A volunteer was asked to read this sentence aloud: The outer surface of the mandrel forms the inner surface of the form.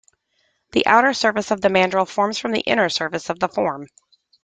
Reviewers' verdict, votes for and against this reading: rejected, 0, 2